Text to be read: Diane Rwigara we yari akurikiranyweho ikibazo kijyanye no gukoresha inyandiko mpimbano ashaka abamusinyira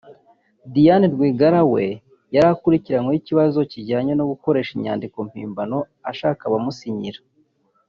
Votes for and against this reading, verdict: 1, 2, rejected